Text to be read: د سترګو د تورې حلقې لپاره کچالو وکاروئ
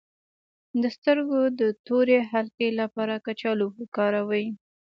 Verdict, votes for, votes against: accepted, 2, 0